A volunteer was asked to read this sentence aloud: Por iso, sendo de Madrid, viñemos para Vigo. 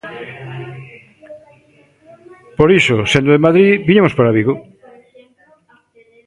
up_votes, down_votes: 1, 2